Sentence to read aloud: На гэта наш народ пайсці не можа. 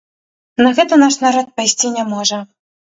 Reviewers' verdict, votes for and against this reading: accepted, 2, 0